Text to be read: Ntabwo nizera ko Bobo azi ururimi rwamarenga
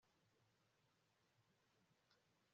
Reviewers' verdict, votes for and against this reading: rejected, 0, 2